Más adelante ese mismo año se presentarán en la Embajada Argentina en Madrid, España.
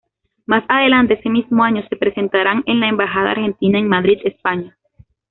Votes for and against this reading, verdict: 2, 0, accepted